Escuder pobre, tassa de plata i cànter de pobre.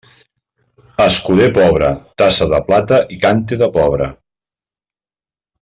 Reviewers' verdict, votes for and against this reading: rejected, 1, 2